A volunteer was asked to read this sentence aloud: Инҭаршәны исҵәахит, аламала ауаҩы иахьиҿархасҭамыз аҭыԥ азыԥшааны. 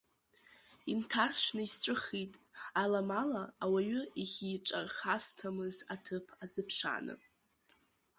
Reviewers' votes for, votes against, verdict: 0, 2, rejected